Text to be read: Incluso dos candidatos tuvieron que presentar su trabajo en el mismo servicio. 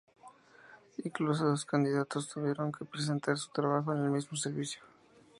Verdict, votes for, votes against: rejected, 0, 2